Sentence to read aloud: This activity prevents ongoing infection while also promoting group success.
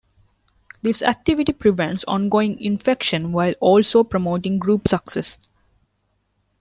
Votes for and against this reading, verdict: 2, 0, accepted